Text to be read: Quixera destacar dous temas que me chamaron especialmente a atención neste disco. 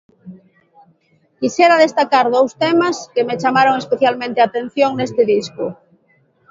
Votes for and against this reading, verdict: 2, 0, accepted